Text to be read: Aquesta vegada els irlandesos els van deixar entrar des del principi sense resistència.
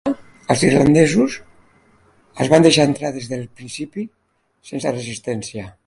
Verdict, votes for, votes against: rejected, 0, 2